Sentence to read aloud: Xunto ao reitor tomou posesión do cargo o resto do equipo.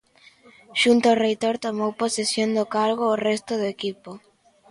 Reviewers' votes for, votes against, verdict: 2, 0, accepted